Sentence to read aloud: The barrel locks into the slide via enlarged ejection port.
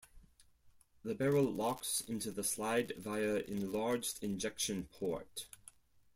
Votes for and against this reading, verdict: 0, 4, rejected